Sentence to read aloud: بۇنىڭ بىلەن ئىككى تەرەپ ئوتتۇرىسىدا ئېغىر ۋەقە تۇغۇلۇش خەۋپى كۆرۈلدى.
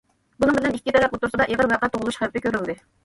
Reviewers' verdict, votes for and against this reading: rejected, 0, 2